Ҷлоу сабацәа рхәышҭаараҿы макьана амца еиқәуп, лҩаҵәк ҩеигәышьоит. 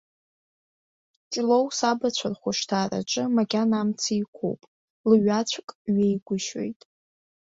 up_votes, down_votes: 2, 0